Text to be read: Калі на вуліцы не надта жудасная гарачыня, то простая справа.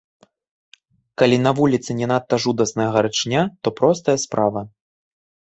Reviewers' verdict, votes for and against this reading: rejected, 1, 2